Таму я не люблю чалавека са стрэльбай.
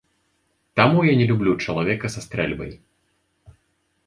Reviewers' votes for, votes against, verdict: 2, 0, accepted